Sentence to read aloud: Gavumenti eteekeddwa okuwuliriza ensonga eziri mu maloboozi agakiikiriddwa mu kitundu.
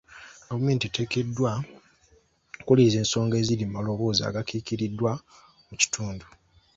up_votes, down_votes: 2, 0